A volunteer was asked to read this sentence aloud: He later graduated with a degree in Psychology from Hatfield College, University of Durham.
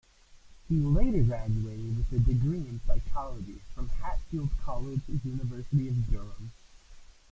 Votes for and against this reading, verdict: 0, 2, rejected